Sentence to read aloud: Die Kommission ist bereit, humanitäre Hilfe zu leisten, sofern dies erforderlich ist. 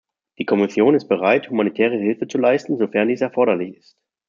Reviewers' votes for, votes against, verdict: 2, 0, accepted